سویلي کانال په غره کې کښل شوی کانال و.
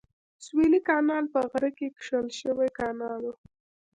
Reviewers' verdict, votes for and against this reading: rejected, 1, 2